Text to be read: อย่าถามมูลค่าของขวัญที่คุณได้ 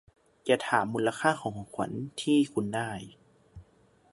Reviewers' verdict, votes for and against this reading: rejected, 1, 2